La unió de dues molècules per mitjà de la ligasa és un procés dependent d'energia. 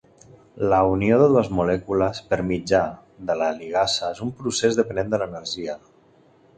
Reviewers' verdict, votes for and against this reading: rejected, 1, 2